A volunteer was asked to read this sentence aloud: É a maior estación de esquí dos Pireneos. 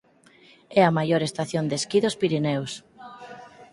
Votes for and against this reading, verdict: 4, 2, accepted